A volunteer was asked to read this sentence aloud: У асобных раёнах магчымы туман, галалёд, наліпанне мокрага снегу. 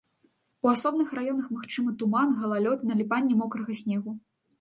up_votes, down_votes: 2, 0